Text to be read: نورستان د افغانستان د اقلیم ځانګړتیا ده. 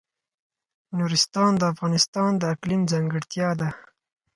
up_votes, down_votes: 4, 0